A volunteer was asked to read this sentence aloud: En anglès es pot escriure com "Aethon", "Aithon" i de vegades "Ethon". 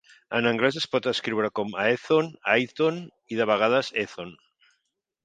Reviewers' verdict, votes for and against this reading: accepted, 4, 0